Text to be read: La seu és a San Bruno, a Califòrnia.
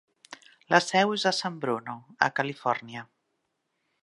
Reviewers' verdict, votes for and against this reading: accepted, 4, 0